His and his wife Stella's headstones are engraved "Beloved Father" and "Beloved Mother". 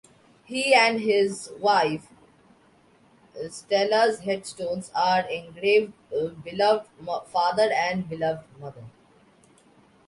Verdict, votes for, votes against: rejected, 0, 2